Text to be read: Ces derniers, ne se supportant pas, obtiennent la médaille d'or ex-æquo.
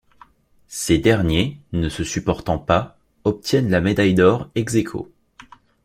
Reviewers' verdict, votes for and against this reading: rejected, 0, 2